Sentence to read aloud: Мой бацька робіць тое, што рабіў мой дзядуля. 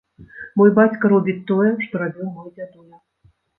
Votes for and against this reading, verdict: 1, 2, rejected